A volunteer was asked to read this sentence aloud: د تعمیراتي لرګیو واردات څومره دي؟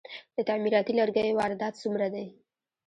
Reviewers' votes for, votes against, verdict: 0, 2, rejected